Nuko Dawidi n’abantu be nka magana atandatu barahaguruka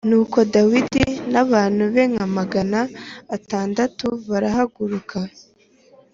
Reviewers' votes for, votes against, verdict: 2, 0, accepted